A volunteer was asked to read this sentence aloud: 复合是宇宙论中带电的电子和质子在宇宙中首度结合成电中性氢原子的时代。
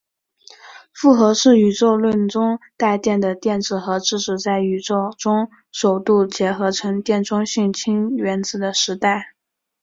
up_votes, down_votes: 4, 1